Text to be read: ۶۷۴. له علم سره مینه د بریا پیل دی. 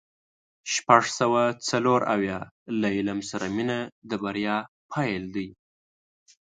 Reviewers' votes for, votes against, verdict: 0, 2, rejected